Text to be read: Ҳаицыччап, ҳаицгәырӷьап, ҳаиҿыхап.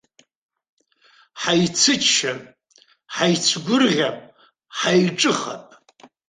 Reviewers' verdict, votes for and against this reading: accepted, 2, 0